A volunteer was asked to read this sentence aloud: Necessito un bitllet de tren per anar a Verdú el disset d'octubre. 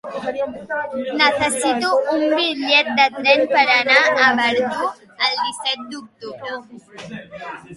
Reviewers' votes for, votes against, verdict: 2, 1, accepted